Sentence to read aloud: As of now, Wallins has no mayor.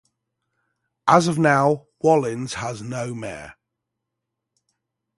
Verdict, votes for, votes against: rejected, 3, 3